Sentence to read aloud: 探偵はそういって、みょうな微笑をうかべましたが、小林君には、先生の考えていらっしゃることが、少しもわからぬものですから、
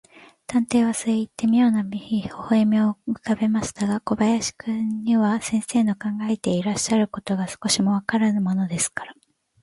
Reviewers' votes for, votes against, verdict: 3, 1, accepted